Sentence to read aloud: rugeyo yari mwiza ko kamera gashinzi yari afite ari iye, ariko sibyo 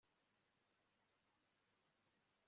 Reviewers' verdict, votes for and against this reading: rejected, 0, 2